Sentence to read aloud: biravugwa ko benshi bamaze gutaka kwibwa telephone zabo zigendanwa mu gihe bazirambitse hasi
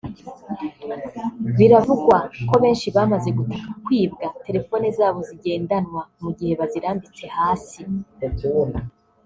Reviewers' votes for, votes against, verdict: 0, 2, rejected